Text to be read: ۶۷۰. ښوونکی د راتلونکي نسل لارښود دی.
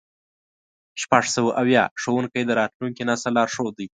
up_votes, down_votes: 0, 2